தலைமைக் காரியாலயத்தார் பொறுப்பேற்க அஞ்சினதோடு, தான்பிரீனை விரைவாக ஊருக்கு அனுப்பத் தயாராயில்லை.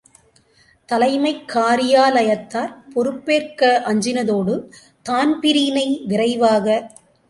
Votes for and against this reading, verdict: 0, 2, rejected